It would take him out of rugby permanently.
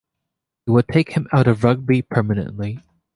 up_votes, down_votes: 2, 0